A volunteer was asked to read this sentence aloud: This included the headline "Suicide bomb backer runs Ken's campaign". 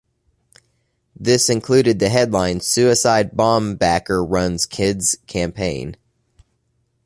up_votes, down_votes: 1, 2